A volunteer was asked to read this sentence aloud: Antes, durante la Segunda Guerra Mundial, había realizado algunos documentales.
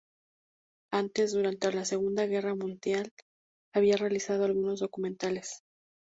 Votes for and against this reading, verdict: 4, 0, accepted